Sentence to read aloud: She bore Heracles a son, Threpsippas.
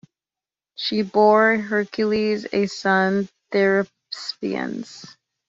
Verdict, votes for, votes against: rejected, 0, 2